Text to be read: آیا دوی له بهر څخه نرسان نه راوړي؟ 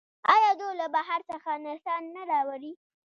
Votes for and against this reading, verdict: 0, 2, rejected